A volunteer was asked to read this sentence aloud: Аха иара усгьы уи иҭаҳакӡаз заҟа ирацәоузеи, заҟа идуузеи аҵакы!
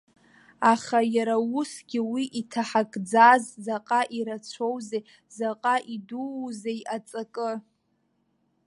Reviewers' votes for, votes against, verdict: 2, 1, accepted